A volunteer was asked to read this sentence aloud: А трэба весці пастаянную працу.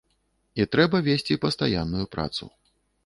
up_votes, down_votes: 0, 2